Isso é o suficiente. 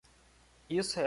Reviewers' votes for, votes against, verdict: 0, 2, rejected